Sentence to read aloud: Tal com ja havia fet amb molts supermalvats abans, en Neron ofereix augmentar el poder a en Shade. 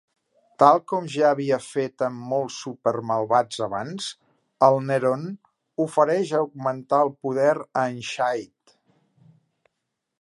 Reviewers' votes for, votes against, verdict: 2, 3, rejected